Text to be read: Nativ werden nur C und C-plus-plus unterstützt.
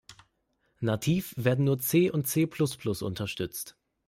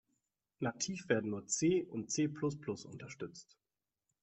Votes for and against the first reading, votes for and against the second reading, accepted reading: 3, 0, 0, 2, first